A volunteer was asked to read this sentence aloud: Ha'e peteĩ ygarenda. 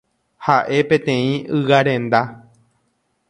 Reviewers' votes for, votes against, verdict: 2, 0, accepted